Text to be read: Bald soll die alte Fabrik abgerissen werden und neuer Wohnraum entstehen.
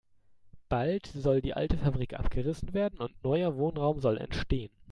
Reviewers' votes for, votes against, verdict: 0, 2, rejected